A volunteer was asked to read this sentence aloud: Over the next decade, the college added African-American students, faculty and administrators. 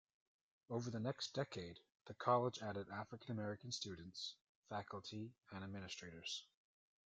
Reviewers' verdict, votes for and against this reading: accepted, 2, 0